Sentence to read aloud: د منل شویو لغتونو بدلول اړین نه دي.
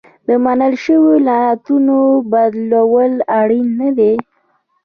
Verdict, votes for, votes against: rejected, 0, 2